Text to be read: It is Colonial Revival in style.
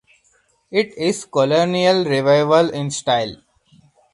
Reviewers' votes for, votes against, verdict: 2, 2, rejected